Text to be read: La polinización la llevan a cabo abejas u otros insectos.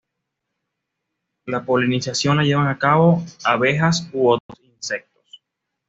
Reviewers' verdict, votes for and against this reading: accepted, 2, 0